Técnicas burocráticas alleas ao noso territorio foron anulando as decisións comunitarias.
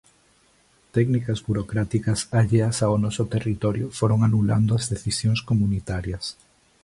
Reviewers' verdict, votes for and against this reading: accepted, 2, 1